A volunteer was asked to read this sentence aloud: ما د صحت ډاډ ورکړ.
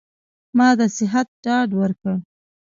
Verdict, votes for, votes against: rejected, 0, 2